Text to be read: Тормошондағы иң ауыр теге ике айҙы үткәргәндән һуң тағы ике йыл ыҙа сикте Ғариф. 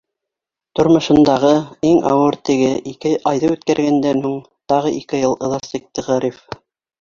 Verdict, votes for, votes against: rejected, 1, 2